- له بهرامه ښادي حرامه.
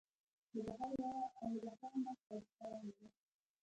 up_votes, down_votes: 1, 2